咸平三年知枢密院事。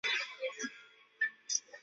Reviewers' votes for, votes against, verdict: 0, 3, rejected